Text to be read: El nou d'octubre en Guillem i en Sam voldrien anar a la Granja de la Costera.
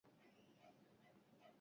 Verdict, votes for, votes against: rejected, 0, 3